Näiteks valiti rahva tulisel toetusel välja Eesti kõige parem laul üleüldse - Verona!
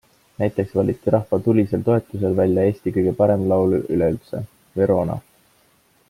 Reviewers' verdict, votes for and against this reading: accepted, 2, 1